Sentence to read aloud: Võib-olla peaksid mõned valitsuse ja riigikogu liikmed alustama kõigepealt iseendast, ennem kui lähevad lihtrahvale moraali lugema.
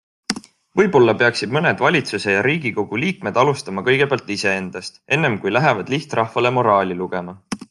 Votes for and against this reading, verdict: 2, 0, accepted